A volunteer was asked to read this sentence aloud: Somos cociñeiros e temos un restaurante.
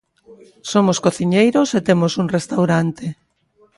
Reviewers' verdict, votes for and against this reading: accepted, 2, 1